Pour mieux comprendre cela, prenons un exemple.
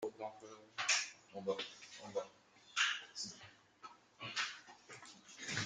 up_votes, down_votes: 0, 2